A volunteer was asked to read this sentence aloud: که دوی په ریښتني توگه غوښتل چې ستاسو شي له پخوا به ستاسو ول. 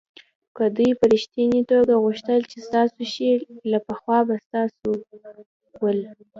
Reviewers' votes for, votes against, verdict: 2, 0, accepted